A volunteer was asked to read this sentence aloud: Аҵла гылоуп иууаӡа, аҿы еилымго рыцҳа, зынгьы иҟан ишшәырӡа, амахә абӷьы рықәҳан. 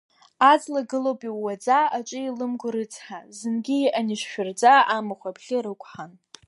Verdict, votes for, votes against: accepted, 2, 0